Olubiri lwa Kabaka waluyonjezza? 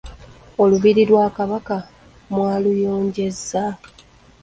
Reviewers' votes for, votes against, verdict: 0, 2, rejected